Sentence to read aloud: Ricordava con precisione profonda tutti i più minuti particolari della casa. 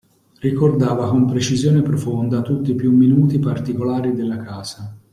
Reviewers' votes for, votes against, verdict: 2, 0, accepted